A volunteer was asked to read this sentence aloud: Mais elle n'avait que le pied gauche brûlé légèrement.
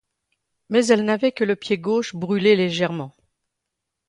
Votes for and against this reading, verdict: 2, 0, accepted